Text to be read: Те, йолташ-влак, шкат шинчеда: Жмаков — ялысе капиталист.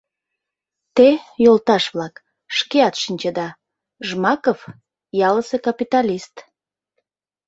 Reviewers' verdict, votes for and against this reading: rejected, 0, 2